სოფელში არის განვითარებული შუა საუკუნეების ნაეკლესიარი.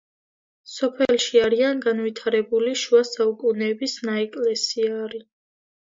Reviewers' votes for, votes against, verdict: 0, 2, rejected